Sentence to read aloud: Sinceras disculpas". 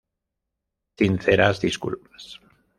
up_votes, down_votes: 2, 0